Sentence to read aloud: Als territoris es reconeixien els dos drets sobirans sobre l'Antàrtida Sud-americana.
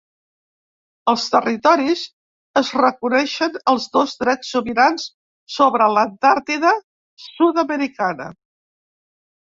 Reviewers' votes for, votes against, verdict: 0, 2, rejected